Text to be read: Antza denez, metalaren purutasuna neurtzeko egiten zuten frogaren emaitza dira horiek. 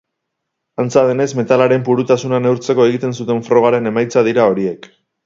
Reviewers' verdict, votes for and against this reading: accepted, 4, 0